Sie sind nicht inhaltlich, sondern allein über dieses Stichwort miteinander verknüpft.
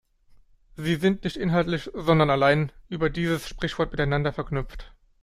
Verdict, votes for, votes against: rejected, 0, 2